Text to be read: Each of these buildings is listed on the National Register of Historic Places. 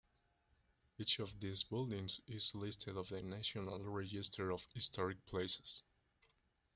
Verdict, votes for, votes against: accepted, 2, 1